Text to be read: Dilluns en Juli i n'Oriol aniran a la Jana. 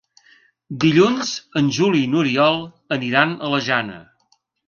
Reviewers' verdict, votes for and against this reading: accepted, 2, 0